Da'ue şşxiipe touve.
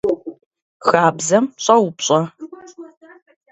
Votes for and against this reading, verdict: 0, 2, rejected